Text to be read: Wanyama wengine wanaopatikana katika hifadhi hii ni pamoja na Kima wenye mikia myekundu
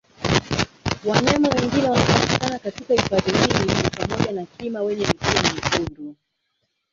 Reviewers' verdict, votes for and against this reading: rejected, 1, 2